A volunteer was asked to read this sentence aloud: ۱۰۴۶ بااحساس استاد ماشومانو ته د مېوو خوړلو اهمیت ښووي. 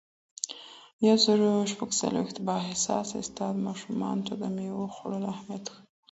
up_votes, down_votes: 0, 2